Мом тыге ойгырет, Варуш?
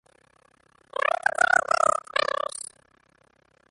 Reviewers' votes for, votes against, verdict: 0, 2, rejected